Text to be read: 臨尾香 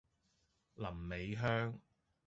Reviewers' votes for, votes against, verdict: 2, 0, accepted